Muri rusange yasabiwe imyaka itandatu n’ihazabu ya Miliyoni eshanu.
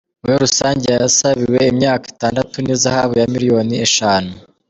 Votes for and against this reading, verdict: 1, 2, rejected